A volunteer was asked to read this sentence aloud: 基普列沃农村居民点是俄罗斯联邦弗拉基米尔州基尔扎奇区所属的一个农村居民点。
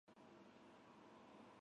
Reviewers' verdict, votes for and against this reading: rejected, 2, 3